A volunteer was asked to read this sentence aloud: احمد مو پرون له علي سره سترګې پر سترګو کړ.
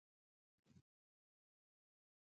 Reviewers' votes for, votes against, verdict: 1, 2, rejected